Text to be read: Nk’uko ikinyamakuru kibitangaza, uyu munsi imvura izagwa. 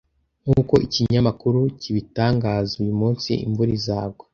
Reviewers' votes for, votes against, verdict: 2, 0, accepted